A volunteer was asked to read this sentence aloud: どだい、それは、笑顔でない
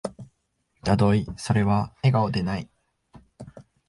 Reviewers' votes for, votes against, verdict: 0, 2, rejected